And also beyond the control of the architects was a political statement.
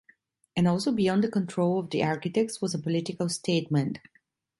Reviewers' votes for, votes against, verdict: 2, 0, accepted